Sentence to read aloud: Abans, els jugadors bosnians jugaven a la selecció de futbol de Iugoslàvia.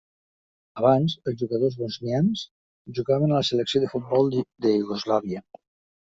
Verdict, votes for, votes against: rejected, 1, 2